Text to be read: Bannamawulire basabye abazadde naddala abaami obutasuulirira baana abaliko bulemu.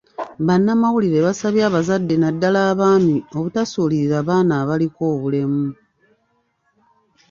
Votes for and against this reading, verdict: 1, 2, rejected